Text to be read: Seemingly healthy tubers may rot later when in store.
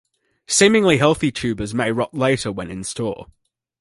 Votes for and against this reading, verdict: 2, 0, accepted